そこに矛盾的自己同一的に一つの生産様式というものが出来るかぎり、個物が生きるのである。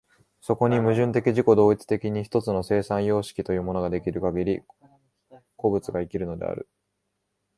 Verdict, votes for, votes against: accepted, 2, 0